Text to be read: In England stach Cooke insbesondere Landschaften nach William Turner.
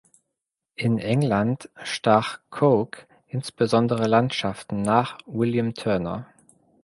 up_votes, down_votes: 2, 0